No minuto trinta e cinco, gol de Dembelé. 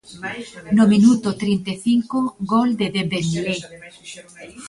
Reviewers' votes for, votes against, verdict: 0, 2, rejected